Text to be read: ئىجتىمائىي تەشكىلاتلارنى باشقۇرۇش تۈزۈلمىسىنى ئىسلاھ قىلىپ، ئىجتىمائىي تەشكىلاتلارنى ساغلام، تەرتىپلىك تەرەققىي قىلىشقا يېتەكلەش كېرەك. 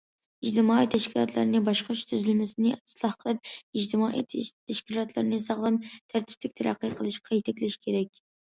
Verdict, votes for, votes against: accepted, 2, 0